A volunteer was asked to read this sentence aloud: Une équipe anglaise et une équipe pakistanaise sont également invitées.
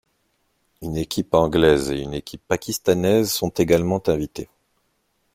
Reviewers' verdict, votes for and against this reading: accepted, 2, 0